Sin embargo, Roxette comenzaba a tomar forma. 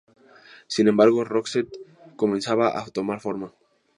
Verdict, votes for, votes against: rejected, 2, 2